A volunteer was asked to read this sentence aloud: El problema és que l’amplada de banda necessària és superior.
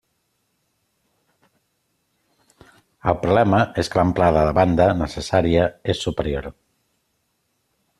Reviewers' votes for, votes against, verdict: 2, 0, accepted